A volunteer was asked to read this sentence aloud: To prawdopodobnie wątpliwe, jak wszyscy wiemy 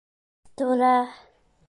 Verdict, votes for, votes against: rejected, 0, 2